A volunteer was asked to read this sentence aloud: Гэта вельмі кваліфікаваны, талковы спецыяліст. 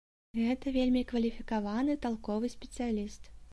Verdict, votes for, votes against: accepted, 2, 0